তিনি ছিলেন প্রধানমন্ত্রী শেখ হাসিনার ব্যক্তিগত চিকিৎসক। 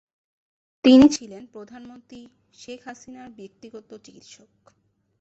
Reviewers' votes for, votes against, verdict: 7, 1, accepted